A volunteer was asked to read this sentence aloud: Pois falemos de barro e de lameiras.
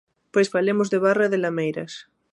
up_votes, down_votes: 2, 0